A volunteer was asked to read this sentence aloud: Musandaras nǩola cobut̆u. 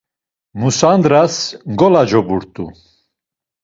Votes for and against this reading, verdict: 1, 2, rejected